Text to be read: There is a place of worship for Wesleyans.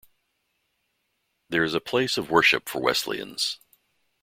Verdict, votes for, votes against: accepted, 2, 0